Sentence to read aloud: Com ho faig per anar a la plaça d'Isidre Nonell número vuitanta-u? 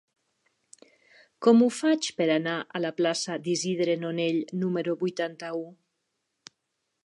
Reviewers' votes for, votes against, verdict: 3, 0, accepted